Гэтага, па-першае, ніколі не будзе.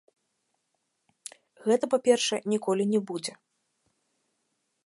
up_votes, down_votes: 0, 2